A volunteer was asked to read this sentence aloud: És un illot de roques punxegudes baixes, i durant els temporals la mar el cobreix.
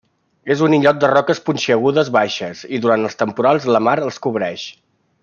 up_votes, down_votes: 1, 2